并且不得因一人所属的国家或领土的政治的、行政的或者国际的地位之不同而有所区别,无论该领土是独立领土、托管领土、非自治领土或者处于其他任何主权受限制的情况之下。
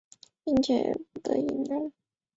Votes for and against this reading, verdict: 4, 1, accepted